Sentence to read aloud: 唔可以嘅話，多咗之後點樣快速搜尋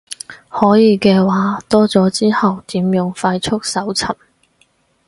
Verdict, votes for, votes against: rejected, 2, 2